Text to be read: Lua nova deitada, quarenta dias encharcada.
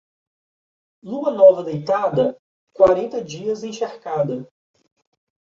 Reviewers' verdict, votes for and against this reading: accepted, 2, 0